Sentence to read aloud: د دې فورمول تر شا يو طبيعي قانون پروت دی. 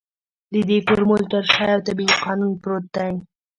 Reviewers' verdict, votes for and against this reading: rejected, 1, 2